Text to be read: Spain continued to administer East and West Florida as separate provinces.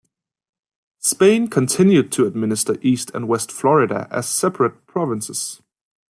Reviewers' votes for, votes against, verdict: 2, 0, accepted